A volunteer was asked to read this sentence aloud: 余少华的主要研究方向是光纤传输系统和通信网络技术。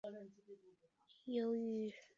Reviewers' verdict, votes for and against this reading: accepted, 5, 3